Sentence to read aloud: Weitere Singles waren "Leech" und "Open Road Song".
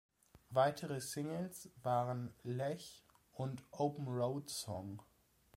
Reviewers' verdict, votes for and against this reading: rejected, 1, 2